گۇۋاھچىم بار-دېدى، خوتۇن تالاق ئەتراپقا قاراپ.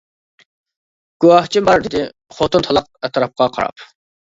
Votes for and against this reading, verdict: 2, 0, accepted